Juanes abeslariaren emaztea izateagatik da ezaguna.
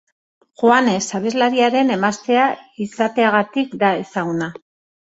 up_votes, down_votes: 2, 1